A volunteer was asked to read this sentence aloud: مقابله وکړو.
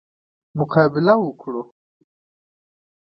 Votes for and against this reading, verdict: 2, 0, accepted